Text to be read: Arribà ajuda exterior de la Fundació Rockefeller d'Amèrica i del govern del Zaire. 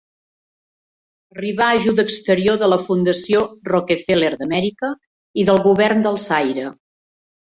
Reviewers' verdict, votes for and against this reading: accepted, 2, 0